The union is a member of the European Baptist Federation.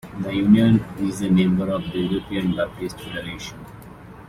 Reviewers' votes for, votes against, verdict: 2, 2, rejected